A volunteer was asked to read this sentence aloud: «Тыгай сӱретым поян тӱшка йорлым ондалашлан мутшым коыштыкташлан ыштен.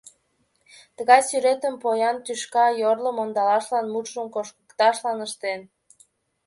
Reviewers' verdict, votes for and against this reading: rejected, 1, 2